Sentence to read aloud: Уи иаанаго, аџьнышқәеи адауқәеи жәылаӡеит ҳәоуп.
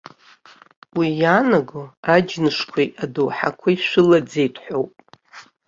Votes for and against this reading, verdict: 1, 2, rejected